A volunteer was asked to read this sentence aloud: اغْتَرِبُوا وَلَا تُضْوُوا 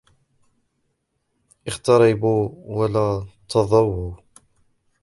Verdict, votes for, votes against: rejected, 1, 2